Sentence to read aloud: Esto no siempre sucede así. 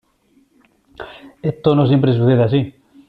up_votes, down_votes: 0, 2